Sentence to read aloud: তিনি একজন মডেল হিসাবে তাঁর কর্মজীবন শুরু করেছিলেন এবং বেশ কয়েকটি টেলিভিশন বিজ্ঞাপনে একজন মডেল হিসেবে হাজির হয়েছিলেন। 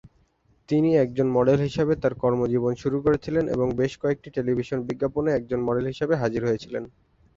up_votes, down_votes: 3, 0